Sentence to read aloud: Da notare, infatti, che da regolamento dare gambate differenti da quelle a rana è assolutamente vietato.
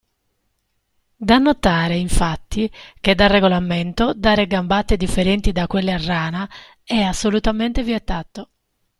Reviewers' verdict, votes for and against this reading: accepted, 2, 0